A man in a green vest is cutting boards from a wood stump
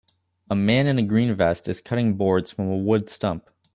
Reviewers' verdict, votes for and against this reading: accepted, 2, 0